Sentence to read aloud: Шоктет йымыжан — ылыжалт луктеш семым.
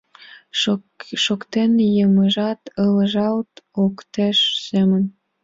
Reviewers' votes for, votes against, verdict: 1, 2, rejected